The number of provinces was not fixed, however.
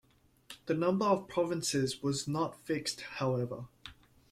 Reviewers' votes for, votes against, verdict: 2, 0, accepted